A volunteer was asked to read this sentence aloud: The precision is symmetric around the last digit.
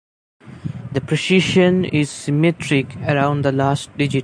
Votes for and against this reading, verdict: 2, 0, accepted